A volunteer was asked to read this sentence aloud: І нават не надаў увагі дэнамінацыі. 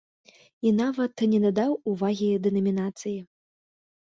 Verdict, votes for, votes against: accepted, 2, 0